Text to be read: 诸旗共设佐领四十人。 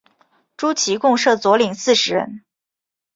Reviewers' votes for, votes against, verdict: 1, 2, rejected